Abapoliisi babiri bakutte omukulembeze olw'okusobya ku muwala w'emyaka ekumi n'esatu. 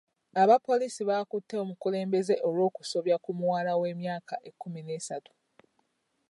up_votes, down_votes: 1, 2